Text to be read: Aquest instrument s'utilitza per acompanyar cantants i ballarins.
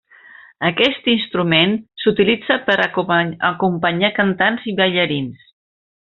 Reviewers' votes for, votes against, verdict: 1, 2, rejected